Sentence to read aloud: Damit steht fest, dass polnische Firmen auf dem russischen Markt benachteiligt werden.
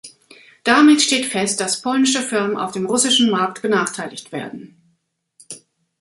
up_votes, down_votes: 2, 0